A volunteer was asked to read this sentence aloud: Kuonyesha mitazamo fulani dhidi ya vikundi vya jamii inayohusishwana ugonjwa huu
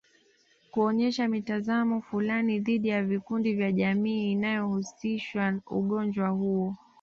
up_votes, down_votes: 1, 2